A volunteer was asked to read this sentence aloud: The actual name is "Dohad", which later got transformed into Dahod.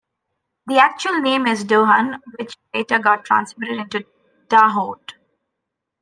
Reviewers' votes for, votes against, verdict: 0, 2, rejected